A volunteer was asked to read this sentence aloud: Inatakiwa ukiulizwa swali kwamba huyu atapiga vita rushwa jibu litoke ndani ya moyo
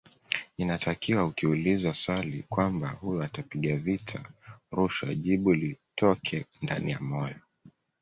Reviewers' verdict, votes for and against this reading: accepted, 2, 1